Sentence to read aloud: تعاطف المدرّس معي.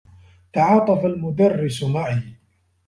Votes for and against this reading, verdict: 2, 1, accepted